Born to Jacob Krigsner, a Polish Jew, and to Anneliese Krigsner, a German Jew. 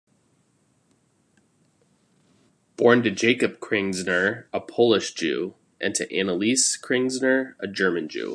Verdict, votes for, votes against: accepted, 2, 0